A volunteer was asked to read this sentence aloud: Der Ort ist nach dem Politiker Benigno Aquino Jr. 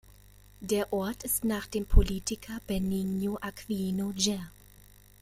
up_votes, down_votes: 0, 2